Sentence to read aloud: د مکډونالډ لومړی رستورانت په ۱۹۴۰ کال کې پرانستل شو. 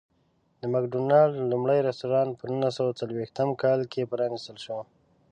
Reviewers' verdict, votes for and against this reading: rejected, 0, 2